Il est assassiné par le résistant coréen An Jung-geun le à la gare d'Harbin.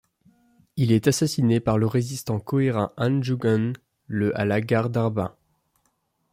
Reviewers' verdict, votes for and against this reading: rejected, 1, 2